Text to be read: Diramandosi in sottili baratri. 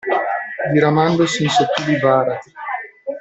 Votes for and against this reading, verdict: 0, 2, rejected